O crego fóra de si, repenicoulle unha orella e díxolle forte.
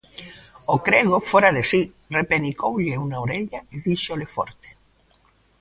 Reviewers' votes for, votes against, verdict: 1, 2, rejected